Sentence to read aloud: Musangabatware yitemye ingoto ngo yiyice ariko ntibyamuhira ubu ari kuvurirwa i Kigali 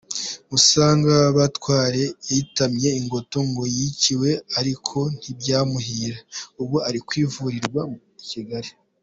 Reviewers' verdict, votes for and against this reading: rejected, 1, 2